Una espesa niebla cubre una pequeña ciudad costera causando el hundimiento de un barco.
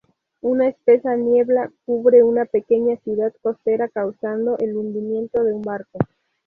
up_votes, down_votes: 4, 0